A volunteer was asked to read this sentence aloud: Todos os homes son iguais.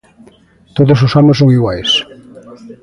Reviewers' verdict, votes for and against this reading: accepted, 2, 0